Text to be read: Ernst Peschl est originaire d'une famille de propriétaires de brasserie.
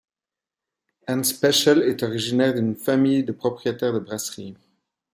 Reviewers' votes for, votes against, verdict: 2, 0, accepted